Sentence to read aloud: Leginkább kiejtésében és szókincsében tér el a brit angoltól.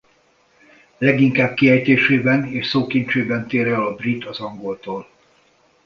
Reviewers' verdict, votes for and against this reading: rejected, 0, 2